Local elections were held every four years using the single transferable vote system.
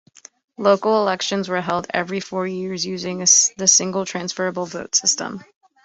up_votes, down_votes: 2, 1